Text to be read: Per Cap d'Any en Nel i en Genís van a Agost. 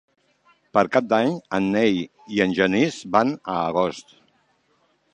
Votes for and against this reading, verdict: 0, 2, rejected